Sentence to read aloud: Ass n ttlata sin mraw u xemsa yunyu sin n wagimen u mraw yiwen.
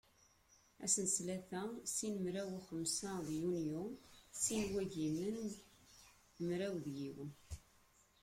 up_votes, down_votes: 1, 2